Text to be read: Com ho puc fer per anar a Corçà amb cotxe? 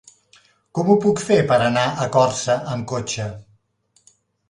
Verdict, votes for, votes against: rejected, 0, 2